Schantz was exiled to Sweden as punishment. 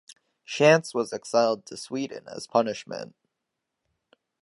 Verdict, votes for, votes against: accepted, 2, 0